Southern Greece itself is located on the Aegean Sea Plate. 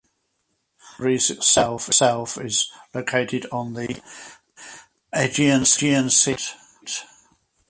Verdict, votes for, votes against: rejected, 0, 4